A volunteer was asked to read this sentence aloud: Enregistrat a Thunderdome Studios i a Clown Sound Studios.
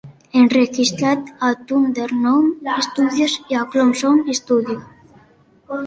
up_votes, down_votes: 1, 2